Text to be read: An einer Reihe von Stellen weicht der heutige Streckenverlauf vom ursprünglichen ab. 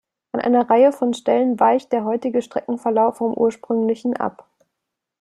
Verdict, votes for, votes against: accepted, 2, 0